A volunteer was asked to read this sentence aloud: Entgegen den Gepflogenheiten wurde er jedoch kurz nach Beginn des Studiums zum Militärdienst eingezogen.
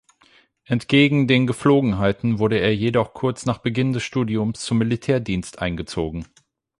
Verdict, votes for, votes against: accepted, 8, 0